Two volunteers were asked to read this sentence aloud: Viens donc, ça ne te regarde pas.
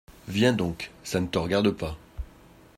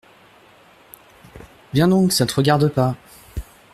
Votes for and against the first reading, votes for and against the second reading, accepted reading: 2, 0, 1, 2, first